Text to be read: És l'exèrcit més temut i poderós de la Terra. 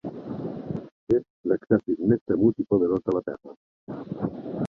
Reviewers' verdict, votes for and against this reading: rejected, 1, 2